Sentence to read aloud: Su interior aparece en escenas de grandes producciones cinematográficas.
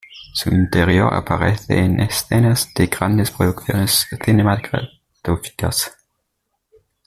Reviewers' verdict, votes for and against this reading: rejected, 1, 2